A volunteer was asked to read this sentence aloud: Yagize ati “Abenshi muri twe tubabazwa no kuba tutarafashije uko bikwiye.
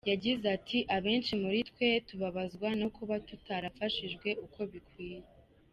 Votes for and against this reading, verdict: 1, 2, rejected